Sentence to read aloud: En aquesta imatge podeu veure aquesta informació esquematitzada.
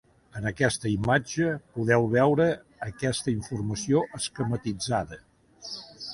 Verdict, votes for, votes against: accepted, 2, 0